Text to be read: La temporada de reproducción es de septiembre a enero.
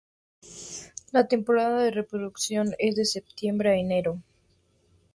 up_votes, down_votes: 4, 0